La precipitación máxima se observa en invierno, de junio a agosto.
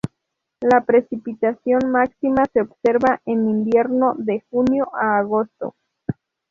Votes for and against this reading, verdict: 2, 0, accepted